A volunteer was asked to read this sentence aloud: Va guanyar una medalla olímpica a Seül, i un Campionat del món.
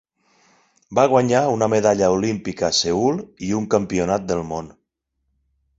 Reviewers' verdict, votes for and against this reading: accepted, 8, 0